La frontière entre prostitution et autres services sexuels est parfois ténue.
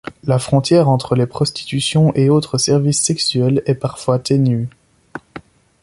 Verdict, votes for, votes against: rejected, 0, 2